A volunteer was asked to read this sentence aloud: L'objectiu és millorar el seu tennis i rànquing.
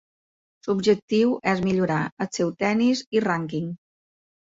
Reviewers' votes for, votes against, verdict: 2, 0, accepted